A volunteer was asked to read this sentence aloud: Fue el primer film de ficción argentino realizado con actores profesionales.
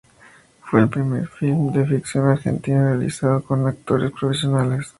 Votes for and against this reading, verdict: 2, 0, accepted